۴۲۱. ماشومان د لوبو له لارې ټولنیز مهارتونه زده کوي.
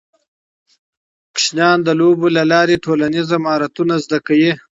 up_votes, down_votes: 0, 2